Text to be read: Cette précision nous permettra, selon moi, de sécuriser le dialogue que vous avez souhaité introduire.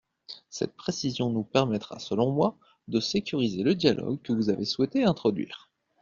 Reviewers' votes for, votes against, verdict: 2, 0, accepted